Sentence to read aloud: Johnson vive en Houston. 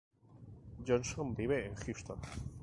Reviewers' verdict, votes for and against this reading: accepted, 2, 0